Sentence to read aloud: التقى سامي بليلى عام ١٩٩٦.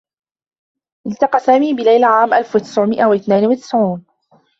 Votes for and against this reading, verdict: 0, 2, rejected